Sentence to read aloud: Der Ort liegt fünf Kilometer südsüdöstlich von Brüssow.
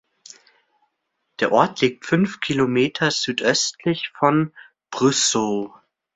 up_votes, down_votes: 0, 2